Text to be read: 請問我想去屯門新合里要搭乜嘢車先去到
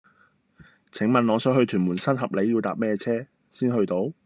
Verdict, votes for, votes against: rejected, 0, 2